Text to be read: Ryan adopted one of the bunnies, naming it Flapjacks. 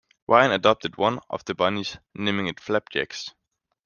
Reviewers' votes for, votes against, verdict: 2, 0, accepted